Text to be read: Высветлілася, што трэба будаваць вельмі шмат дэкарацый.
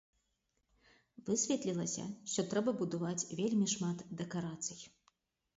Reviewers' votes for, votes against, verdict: 0, 2, rejected